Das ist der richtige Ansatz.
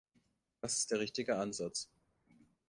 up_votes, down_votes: 2, 1